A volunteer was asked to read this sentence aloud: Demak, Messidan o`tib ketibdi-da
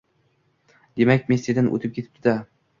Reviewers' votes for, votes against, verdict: 1, 2, rejected